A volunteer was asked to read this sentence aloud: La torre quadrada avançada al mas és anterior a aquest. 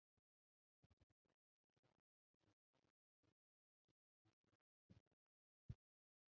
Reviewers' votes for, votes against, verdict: 0, 2, rejected